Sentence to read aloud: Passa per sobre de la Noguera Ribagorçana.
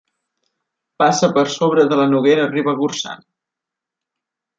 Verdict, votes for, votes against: accepted, 2, 0